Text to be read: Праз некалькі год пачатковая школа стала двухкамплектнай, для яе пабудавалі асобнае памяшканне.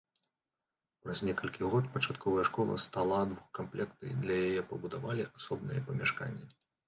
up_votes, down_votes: 0, 2